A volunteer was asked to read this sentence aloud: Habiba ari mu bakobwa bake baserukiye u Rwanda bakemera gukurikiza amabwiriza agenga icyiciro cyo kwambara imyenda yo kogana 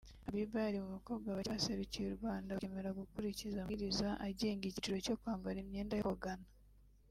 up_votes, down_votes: 1, 3